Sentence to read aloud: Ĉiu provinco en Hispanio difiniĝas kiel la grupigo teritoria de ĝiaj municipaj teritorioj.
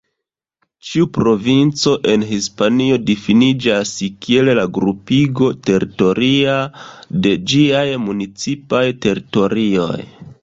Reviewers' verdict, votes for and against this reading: rejected, 1, 2